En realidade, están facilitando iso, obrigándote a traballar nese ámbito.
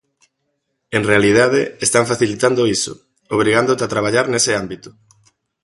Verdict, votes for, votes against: accepted, 2, 0